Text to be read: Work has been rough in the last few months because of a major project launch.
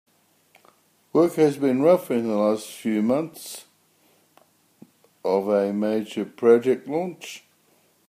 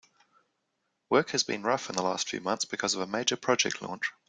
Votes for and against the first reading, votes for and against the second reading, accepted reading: 0, 2, 2, 0, second